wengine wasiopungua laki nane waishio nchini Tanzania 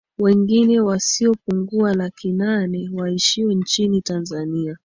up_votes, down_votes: 2, 0